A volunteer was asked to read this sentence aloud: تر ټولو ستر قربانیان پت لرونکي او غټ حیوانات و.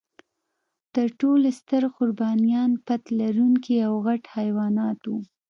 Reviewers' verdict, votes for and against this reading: accepted, 2, 0